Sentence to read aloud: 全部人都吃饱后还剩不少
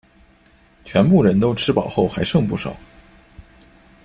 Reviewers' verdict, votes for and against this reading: accepted, 2, 0